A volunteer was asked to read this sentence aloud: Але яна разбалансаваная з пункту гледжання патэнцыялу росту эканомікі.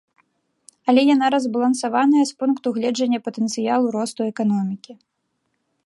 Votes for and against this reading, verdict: 2, 0, accepted